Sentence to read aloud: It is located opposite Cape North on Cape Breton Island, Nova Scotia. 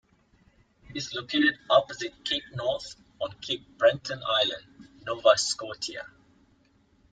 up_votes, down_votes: 1, 2